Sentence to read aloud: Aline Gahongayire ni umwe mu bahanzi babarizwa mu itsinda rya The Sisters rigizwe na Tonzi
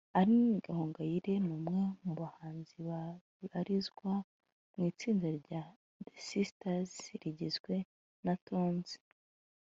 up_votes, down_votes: 2, 0